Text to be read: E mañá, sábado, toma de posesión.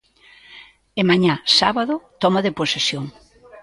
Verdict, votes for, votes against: rejected, 1, 2